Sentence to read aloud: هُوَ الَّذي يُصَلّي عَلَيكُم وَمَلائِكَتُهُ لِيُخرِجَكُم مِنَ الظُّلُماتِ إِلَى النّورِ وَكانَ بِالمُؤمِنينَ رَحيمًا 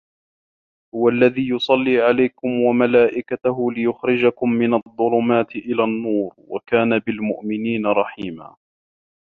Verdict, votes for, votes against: accepted, 2, 0